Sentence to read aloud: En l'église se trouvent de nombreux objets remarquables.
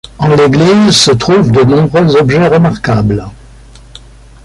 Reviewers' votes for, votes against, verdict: 2, 0, accepted